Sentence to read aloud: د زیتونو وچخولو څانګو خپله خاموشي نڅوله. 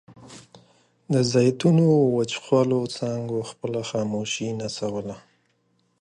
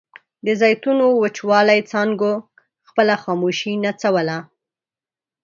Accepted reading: first